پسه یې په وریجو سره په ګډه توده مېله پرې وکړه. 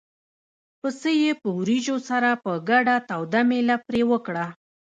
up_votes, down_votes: 1, 2